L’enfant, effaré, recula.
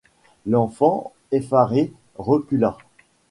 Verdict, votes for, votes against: rejected, 1, 2